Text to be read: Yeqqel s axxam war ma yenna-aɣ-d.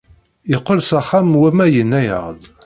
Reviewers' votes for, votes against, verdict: 2, 0, accepted